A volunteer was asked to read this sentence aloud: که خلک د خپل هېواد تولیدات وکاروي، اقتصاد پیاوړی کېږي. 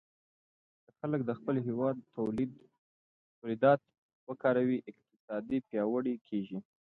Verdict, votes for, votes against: rejected, 0, 2